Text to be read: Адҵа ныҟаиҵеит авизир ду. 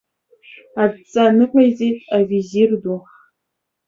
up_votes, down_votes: 2, 0